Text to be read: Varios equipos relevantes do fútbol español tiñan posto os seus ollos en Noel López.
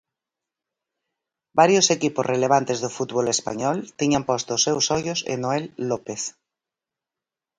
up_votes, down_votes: 4, 0